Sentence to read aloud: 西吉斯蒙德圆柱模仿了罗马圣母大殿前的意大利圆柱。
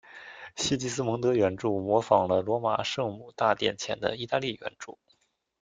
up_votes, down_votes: 2, 0